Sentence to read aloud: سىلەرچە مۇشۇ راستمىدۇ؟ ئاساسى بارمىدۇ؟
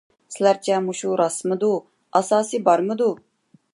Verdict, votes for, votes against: accepted, 2, 0